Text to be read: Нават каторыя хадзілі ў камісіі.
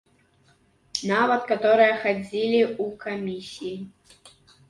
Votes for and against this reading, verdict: 2, 1, accepted